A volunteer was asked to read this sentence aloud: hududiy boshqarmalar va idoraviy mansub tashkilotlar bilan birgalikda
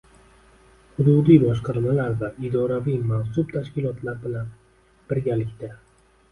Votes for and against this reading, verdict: 2, 0, accepted